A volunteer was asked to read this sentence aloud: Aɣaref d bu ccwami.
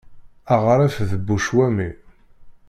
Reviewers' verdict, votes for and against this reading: rejected, 0, 2